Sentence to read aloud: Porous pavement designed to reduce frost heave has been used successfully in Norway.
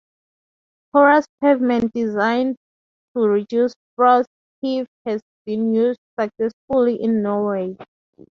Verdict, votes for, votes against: accepted, 2, 0